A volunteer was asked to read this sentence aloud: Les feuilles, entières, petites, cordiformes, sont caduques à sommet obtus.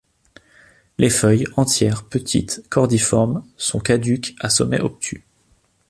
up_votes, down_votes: 2, 0